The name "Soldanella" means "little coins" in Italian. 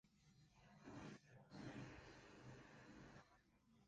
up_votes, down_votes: 0, 3